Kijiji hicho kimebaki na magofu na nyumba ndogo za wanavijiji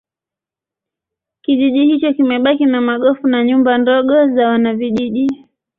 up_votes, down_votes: 1, 2